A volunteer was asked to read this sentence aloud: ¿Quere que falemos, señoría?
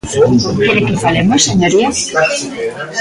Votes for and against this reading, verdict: 0, 2, rejected